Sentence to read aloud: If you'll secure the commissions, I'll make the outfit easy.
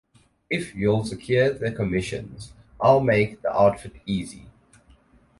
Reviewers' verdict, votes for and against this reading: rejected, 2, 2